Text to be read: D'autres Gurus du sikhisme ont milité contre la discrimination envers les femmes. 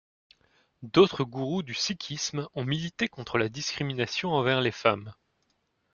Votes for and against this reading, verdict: 2, 0, accepted